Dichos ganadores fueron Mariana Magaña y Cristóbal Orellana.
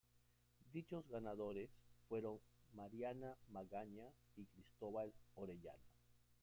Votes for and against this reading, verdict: 1, 2, rejected